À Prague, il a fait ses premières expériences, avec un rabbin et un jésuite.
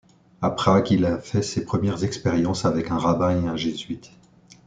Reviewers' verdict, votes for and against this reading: accepted, 2, 0